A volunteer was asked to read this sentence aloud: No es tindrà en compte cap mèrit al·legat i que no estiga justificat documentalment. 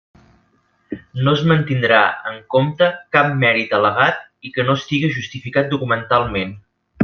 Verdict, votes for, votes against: rejected, 1, 2